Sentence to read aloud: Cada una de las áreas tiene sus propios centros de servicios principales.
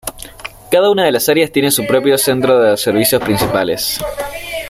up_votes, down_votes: 1, 2